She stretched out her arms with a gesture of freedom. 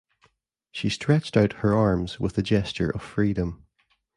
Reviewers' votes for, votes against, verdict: 2, 0, accepted